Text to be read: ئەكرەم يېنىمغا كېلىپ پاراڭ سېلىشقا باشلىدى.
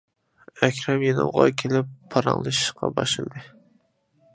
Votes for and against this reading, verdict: 0, 2, rejected